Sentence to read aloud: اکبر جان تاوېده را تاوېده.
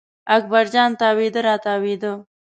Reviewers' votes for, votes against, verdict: 2, 0, accepted